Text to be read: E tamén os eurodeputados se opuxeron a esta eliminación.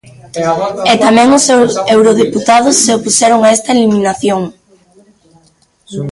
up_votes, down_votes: 0, 2